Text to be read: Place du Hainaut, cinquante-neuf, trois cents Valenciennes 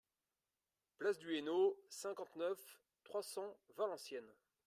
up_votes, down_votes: 2, 1